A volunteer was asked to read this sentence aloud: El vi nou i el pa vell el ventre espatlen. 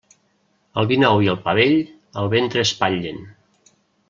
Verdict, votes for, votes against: rejected, 0, 2